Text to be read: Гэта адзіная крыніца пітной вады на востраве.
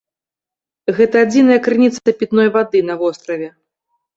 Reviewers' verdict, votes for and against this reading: rejected, 0, 2